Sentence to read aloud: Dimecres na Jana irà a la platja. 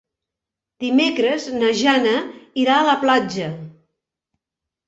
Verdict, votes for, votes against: accepted, 2, 0